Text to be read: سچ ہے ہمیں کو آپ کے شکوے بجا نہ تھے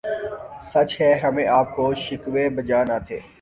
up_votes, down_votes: 0, 3